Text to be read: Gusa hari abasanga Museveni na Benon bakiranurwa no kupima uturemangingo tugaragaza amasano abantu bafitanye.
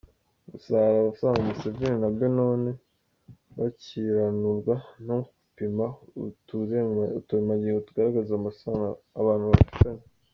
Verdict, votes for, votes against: rejected, 1, 2